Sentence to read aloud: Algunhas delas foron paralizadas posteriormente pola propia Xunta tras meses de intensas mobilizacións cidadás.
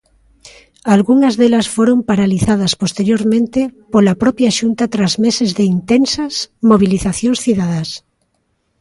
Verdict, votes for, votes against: accepted, 2, 0